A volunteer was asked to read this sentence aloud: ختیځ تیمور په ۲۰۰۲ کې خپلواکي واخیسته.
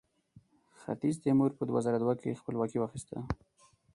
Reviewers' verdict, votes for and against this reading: rejected, 0, 2